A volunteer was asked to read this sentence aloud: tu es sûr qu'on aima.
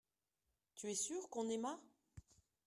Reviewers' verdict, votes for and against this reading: rejected, 1, 2